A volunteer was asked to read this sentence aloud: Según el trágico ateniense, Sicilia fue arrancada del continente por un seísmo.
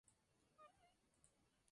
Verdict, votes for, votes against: rejected, 0, 4